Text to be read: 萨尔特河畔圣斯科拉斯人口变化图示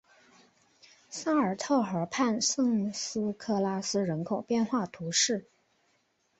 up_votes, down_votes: 2, 1